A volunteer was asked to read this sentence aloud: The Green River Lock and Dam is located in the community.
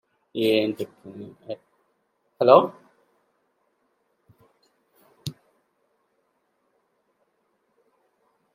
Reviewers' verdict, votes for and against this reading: rejected, 0, 2